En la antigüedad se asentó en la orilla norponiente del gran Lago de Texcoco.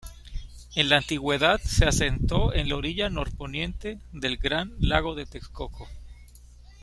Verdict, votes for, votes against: accepted, 2, 0